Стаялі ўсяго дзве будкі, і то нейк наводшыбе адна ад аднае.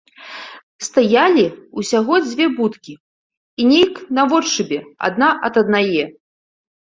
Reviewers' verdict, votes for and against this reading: rejected, 1, 2